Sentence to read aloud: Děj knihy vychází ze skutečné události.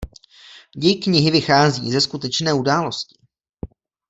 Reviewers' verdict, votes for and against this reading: accepted, 2, 0